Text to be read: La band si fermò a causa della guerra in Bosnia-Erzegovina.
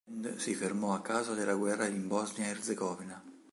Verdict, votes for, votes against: rejected, 1, 3